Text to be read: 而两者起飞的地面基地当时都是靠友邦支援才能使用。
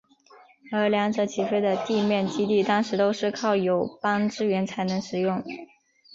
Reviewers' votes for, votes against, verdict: 5, 1, accepted